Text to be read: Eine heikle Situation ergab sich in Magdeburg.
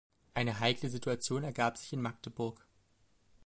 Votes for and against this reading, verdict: 2, 0, accepted